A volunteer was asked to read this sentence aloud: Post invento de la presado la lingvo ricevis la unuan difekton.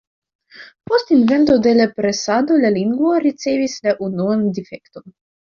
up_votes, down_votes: 2, 1